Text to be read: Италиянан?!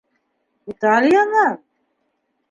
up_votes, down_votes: 1, 2